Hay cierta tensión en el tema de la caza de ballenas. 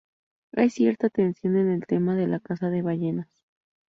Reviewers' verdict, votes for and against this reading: rejected, 0, 2